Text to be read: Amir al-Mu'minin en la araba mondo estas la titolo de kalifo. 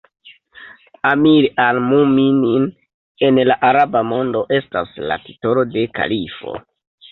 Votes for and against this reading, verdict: 2, 0, accepted